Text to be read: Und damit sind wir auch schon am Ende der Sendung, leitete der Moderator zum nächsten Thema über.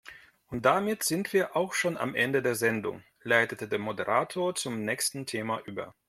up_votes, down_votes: 2, 0